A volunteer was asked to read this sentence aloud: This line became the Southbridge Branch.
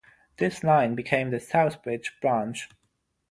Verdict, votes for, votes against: accepted, 6, 0